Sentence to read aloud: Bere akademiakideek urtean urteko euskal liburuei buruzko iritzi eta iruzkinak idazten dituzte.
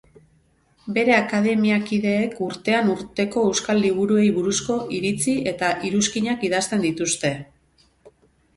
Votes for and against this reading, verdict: 2, 0, accepted